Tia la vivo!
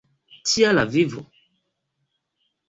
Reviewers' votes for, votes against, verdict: 2, 0, accepted